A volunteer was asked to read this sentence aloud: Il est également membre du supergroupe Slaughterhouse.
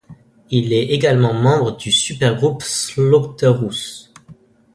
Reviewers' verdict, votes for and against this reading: rejected, 1, 2